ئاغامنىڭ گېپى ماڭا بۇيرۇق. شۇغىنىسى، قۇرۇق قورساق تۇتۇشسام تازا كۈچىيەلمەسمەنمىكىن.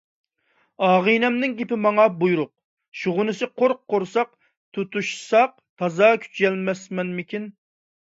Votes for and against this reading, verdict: 0, 2, rejected